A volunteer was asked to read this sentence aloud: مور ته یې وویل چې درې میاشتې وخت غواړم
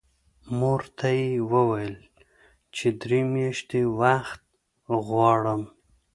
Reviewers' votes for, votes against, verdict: 2, 0, accepted